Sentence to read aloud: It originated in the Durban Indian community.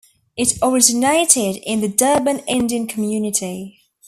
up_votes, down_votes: 2, 0